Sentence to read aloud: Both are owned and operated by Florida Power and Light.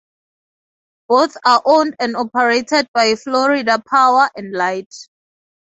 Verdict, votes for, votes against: accepted, 2, 0